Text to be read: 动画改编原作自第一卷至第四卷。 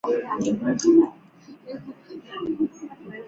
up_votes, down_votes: 1, 2